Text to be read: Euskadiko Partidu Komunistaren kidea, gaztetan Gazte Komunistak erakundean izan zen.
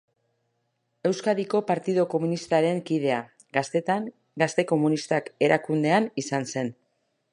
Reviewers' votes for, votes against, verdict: 2, 0, accepted